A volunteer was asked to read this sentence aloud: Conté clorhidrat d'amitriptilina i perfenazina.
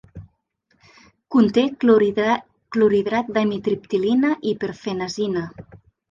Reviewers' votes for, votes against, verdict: 0, 2, rejected